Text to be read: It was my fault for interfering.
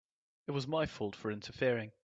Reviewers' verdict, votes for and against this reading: accepted, 2, 0